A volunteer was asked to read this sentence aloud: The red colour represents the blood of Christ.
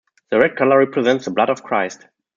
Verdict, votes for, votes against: accepted, 2, 0